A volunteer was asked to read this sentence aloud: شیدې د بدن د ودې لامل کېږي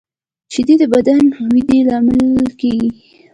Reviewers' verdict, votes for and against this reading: accepted, 2, 0